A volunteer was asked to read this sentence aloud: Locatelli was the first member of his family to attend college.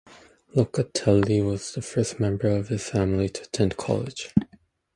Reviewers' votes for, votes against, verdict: 0, 2, rejected